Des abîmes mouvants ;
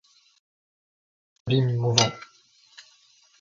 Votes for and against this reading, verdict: 0, 2, rejected